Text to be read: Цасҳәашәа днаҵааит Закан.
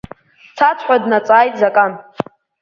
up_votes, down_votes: 3, 2